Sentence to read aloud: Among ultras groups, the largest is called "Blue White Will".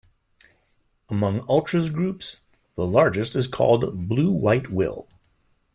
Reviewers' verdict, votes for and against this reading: accepted, 2, 0